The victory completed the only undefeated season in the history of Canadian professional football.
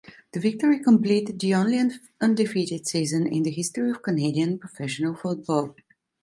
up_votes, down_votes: 0, 2